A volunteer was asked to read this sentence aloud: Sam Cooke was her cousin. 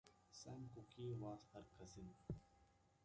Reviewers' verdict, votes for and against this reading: accepted, 2, 0